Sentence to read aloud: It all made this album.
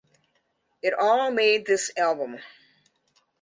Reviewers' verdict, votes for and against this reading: accepted, 2, 0